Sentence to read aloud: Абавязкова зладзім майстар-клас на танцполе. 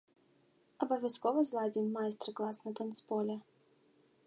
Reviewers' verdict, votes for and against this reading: accepted, 2, 0